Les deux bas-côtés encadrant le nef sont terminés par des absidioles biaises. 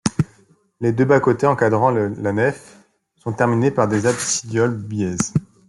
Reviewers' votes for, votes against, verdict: 1, 3, rejected